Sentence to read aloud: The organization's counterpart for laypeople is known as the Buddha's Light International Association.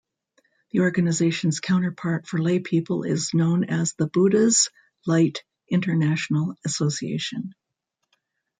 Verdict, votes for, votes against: rejected, 0, 2